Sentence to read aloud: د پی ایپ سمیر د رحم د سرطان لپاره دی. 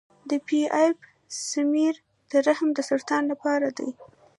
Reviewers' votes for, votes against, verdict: 0, 2, rejected